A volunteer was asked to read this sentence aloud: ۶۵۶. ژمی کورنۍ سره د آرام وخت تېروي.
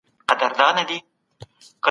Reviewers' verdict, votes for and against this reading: rejected, 0, 2